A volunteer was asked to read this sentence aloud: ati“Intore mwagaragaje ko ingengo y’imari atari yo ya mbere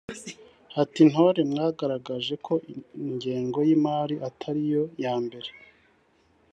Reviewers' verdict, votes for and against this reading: accepted, 3, 1